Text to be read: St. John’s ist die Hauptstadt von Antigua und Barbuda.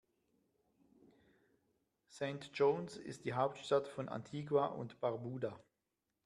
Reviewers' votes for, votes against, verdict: 2, 1, accepted